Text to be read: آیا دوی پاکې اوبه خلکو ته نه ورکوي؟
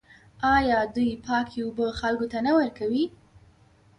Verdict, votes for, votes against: rejected, 1, 2